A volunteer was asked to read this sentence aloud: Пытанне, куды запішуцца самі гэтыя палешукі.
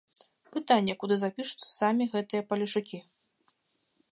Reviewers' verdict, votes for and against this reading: accepted, 3, 0